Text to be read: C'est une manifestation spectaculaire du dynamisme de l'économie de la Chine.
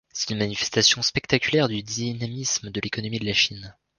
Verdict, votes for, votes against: accepted, 2, 0